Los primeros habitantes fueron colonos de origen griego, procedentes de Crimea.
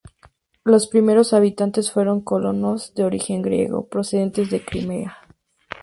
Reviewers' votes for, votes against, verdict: 6, 0, accepted